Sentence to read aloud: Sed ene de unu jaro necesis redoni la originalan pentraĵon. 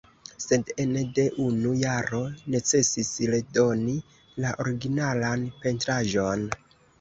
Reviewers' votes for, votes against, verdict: 0, 2, rejected